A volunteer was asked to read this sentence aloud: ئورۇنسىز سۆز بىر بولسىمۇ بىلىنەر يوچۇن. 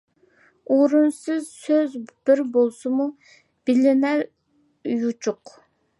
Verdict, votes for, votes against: accepted, 2, 1